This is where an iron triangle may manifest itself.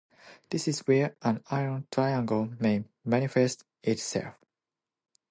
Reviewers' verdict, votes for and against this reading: accepted, 2, 0